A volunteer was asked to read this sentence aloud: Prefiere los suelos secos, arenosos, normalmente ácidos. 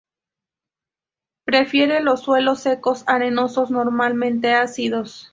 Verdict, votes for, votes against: accepted, 4, 0